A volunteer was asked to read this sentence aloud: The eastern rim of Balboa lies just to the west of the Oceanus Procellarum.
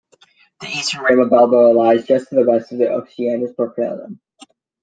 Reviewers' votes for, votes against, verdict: 0, 2, rejected